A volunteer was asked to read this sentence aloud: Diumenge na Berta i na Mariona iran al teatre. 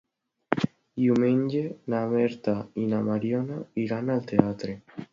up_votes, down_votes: 2, 0